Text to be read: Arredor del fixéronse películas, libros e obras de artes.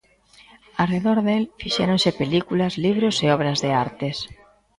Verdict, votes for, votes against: accepted, 2, 0